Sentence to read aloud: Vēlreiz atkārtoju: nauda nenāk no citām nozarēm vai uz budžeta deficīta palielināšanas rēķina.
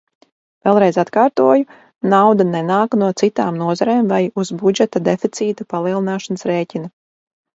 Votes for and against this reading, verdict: 0, 2, rejected